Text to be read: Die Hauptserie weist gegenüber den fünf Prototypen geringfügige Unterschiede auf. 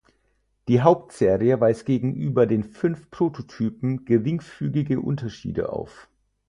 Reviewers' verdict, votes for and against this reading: accepted, 4, 0